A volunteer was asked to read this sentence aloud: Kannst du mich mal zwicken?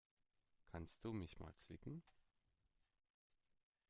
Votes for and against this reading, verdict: 2, 0, accepted